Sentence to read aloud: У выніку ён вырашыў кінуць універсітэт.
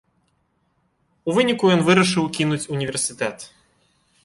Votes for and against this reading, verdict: 1, 2, rejected